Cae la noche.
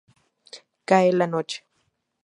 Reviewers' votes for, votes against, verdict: 2, 0, accepted